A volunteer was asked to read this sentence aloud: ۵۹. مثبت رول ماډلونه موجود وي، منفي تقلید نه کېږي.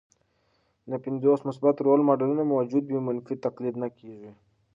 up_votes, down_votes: 0, 2